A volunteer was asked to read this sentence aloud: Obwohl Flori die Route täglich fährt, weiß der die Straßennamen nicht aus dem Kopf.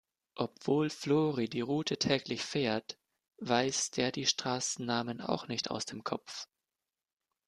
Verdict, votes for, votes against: rejected, 0, 2